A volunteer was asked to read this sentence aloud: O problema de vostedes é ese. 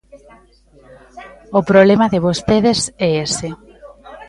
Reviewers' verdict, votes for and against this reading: accepted, 2, 1